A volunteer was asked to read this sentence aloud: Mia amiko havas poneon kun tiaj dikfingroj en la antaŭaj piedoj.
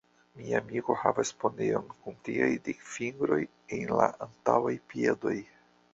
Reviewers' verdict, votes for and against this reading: accepted, 2, 1